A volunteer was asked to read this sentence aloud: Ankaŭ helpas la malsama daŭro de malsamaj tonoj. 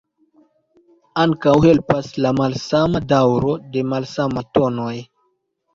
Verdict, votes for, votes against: rejected, 1, 2